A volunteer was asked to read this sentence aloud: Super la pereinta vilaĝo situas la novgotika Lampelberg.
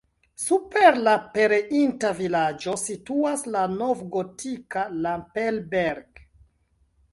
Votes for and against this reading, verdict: 0, 2, rejected